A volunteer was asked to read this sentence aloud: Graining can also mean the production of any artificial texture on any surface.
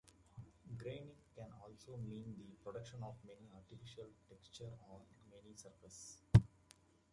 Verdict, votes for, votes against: rejected, 0, 2